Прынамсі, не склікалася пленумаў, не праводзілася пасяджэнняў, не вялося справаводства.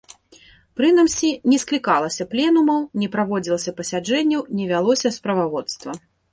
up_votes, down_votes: 1, 2